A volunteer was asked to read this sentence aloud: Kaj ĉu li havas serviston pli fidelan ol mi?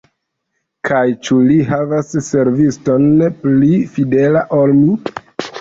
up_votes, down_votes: 1, 2